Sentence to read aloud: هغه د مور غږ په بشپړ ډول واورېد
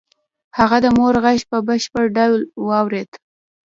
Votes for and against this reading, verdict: 0, 2, rejected